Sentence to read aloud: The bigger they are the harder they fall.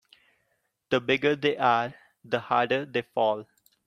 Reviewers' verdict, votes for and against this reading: rejected, 0, 2